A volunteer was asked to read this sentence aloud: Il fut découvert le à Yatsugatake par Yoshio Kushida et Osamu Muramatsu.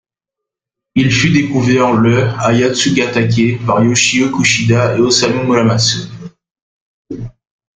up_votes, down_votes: 1, 2